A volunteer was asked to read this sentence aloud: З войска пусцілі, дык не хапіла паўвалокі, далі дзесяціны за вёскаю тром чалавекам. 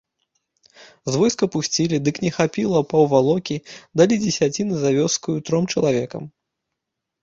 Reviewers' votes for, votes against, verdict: 2, 0, accepted